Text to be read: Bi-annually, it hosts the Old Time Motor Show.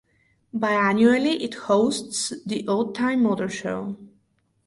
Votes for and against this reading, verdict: 4, 0, accepted